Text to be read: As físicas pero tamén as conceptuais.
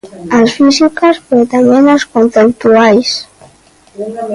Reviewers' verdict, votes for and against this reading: rejected, 0, 2